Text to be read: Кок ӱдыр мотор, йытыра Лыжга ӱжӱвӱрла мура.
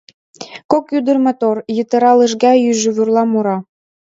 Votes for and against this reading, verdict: 3, 0, accepted